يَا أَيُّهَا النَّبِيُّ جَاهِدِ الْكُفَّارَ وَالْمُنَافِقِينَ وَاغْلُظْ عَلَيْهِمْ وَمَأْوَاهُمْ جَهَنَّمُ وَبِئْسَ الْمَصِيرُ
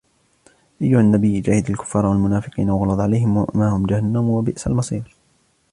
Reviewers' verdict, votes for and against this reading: accepted, 2, 1